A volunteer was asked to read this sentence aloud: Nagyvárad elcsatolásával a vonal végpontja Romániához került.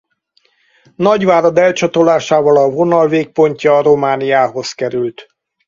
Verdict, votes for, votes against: rejected, 2, 2